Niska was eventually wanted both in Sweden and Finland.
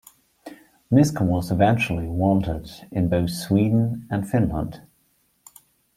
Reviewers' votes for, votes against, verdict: 1, 2, rejected